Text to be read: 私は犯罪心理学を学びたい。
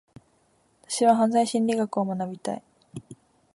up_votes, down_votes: 22, 0